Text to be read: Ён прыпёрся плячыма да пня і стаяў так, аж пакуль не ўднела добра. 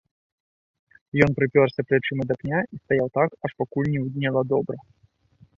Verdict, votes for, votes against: accepted, 2, 0